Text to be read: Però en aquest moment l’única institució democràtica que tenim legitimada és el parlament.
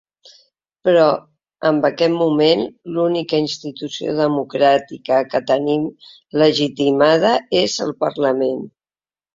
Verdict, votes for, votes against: rejected, 0, 2